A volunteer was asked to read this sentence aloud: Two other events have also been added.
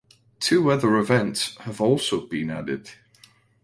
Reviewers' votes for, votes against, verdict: 2, 0, accepted